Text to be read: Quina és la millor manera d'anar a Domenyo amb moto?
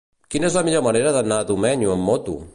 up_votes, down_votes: 2, 0